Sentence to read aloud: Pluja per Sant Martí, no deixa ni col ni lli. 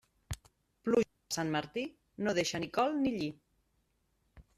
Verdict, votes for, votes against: rejected, 0, 2